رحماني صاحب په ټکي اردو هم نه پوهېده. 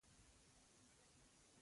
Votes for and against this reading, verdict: 0, 2, rejected